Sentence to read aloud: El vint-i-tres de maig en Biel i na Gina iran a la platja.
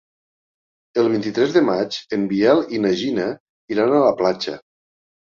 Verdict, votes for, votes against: accepted, 4, 0